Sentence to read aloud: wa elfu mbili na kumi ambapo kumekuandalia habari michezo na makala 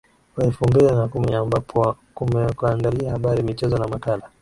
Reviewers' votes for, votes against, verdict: 2, 3, rejected